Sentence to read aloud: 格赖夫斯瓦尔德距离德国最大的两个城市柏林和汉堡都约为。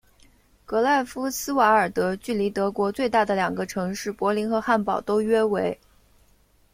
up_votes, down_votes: 2, 0